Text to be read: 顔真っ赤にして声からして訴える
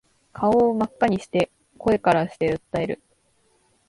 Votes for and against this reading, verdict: 2, 0, accepted